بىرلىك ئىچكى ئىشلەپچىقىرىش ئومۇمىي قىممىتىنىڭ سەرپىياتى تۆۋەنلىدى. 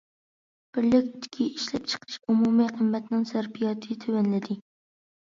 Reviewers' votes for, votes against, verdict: 1, 2, rejected